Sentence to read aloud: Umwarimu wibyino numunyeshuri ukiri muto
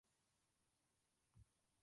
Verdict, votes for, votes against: rejected, 0, 2